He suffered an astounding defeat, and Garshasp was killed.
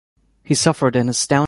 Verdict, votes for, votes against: rejected, 1, 2